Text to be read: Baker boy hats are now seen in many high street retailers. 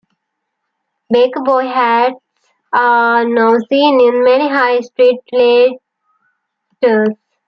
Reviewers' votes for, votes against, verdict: 1, 2, rejected